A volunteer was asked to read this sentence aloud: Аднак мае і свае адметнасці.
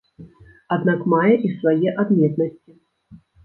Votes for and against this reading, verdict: 1, 2, rejected